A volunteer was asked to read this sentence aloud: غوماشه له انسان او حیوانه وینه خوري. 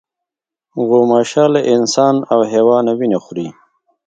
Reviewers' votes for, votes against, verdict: 2, 0, accepted